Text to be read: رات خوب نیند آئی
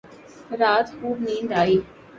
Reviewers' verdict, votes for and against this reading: accepted, 2, 0